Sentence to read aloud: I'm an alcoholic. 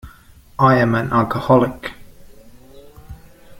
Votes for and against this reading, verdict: 1, 2, rejected